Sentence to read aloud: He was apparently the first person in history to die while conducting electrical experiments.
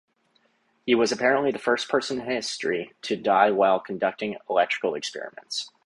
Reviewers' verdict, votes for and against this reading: accepted, 2, 0